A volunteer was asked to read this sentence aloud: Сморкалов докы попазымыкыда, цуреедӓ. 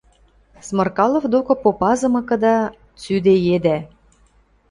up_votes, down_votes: 1, 2